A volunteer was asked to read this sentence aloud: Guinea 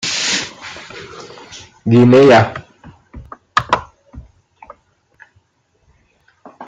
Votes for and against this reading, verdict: 0, 2, rejected